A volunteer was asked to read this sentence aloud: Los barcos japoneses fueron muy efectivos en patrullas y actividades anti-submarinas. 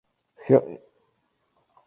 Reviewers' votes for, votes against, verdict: 2, 2, rejected